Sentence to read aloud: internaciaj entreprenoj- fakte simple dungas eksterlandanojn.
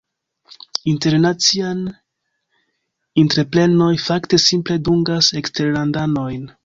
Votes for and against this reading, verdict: 0, 2, rejected